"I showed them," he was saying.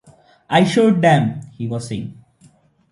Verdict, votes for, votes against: accepted, 2, 0